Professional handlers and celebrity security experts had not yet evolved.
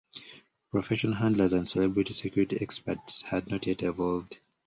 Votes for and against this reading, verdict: 0, 2, rejected